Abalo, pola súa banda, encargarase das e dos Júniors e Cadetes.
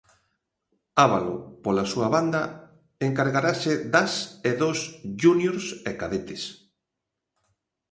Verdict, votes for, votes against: rejected, 0, 2